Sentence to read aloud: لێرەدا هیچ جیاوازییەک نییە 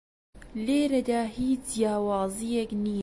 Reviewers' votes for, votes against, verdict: 0, 2, rejected